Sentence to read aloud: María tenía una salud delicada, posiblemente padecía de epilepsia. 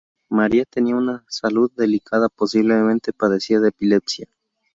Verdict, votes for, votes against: accepted, 2, 0